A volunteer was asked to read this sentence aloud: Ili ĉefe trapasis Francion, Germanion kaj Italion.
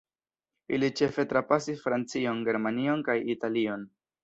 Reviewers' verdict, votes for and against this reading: accepted, 2, 1